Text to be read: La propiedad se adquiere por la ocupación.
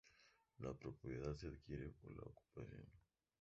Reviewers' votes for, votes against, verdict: 0, 2, rejected